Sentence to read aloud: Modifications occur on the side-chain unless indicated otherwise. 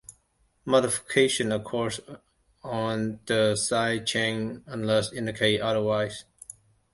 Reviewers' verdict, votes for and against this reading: rejected, 0, 2